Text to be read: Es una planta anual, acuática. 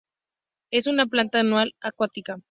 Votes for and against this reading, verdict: 2, 0, accepted